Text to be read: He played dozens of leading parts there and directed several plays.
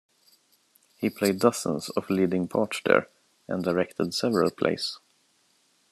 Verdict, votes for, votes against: rejected, 0, 2